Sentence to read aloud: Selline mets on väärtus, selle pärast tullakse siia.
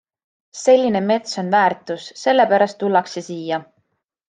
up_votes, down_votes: 2, 0